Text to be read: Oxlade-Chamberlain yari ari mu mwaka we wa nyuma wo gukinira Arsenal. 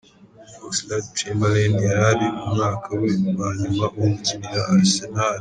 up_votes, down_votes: 1, 2